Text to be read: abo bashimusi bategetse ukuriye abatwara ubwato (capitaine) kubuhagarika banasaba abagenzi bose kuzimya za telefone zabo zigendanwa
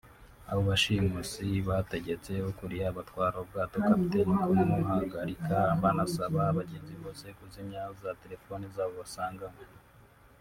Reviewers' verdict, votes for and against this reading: rejected, 0, 2